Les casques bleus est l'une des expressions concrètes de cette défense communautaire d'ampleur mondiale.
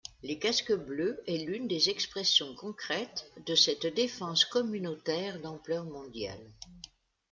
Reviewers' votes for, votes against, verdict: 2, 0, accepted